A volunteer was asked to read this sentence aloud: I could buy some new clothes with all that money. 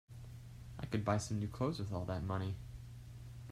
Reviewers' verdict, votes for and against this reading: accepted, 2, 0